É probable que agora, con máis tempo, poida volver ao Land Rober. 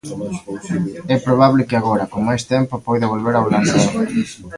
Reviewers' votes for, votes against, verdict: 0, 2, rejected